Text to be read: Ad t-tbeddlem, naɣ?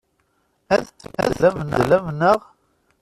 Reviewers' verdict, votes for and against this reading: rejected, 0, 2